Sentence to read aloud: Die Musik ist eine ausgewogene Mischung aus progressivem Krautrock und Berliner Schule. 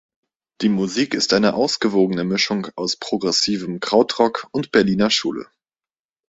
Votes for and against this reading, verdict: 2, 0, accepted